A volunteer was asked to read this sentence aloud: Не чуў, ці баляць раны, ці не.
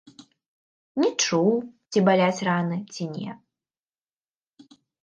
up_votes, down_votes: 2, 0